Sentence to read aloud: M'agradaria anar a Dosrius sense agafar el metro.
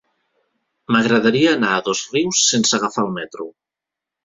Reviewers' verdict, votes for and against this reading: accepted, 2, 0